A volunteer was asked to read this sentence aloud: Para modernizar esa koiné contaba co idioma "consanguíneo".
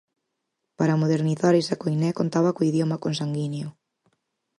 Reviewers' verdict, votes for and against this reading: accepted, 4, 0